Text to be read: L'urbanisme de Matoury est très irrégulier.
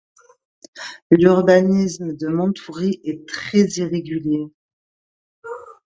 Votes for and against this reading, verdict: 2, 0, accepted